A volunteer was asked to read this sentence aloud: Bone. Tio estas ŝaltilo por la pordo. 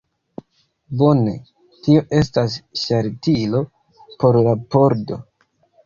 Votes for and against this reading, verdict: 0, 2, rejected